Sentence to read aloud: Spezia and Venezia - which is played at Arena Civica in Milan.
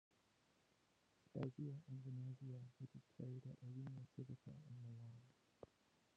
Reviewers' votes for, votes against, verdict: 0, 2, rejected